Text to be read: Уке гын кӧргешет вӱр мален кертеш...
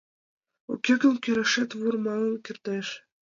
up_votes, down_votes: 1, 2